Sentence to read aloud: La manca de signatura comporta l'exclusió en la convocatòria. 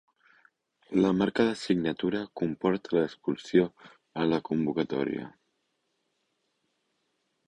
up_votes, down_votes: 1, 2